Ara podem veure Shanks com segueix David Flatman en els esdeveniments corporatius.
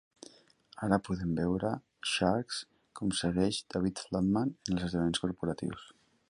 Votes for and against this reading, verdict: 2, 1, accepted